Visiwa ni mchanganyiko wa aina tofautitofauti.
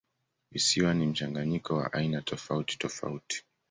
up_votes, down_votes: 2, 0